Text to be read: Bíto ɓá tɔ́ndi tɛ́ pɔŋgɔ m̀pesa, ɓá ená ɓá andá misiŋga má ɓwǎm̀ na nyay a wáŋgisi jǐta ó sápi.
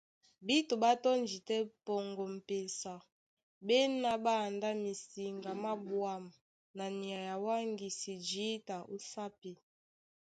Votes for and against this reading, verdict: 2, 0, accepted